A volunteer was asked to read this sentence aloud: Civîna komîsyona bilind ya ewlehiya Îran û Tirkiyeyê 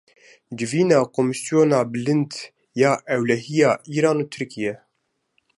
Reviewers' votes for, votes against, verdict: 1, 2, rejected